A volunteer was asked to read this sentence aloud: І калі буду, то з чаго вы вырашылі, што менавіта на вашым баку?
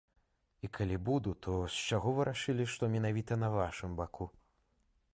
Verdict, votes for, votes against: rejected, 0, 2